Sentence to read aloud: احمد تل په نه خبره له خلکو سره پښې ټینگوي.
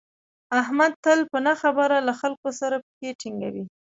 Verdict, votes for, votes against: rejected, 1, 2